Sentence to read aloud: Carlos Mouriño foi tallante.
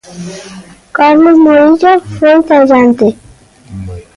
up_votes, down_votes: 1, 2